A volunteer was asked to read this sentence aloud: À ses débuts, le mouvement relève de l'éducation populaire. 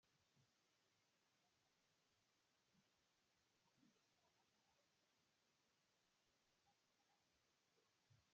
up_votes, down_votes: 0, 2